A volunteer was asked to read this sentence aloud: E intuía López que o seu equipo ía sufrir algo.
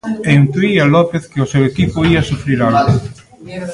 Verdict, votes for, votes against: rejected, 0, 2